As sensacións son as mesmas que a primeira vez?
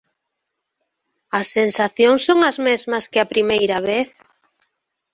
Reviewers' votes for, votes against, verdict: 3, 1, accepted